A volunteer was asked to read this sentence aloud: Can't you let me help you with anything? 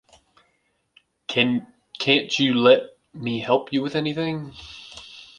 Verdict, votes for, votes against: accepted, 2, 1